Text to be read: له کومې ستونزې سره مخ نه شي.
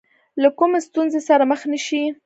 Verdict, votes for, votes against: rejected, 0, 2